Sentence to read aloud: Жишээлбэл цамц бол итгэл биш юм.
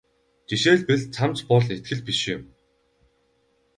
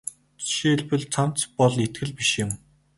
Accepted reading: second